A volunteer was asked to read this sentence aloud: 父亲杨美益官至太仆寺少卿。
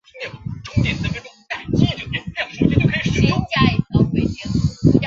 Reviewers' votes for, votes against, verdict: 0, 3, rejected